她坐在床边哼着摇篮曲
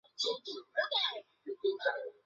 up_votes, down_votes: 2, 0